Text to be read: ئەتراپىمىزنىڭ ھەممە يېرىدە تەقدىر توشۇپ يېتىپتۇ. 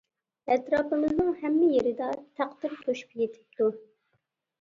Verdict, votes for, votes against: rejected, 1, 2